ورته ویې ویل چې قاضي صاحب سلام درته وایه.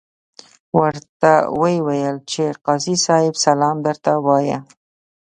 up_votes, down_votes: 2, 0